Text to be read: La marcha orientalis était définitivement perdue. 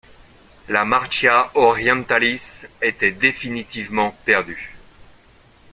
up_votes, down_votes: 1, 2